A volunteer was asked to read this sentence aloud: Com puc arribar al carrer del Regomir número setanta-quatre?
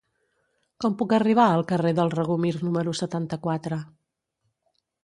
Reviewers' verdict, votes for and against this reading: accepted, 2, 0